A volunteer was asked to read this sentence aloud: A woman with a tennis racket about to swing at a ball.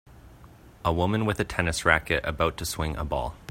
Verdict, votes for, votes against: rejected, 1, 2